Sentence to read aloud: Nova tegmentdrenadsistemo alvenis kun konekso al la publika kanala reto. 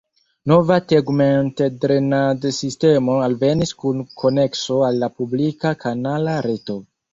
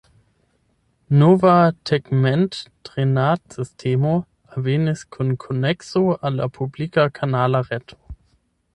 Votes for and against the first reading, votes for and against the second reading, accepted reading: 2, 0, 0, 8, first